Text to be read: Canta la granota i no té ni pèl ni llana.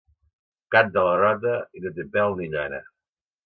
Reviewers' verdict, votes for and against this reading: rejected, 1, 3